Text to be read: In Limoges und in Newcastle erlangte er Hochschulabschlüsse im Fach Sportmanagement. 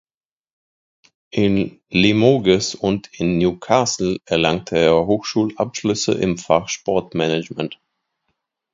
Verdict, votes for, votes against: rejected, 1, 2